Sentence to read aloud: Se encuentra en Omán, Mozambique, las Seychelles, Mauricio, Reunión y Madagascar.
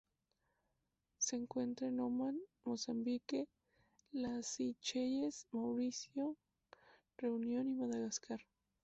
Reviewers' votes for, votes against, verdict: 0, 2, rejected